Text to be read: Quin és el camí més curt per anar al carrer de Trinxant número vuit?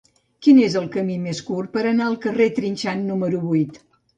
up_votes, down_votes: 2, 2